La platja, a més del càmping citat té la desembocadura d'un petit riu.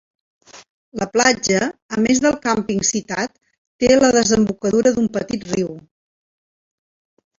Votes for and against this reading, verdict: 4, 0, accepted